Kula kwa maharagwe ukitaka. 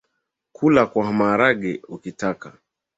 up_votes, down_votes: 3, 1